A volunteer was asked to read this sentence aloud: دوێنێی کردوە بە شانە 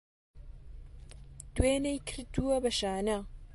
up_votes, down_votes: 1, 2